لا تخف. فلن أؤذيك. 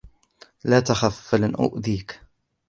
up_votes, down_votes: 2, 0